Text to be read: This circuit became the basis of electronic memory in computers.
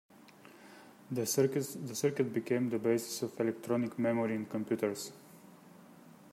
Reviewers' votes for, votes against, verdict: 0, 2, rejected